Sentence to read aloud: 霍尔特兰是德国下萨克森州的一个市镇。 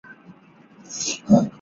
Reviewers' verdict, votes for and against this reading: rejected, 0, 3